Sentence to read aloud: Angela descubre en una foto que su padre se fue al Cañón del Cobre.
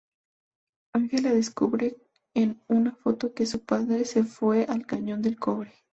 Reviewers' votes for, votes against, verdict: 4, 0, accepted